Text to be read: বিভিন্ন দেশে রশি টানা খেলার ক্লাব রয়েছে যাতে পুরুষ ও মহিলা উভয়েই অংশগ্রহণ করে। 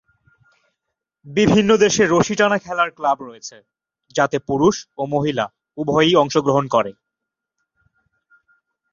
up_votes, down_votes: 10, 2